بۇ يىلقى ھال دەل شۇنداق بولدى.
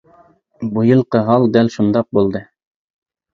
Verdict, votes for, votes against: accepted, 2, 0